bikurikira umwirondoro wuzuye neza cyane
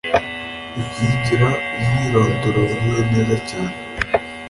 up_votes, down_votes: 2, 0